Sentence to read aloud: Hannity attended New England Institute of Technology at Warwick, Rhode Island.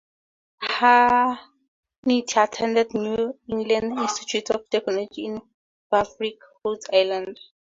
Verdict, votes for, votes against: accepted, 4, 0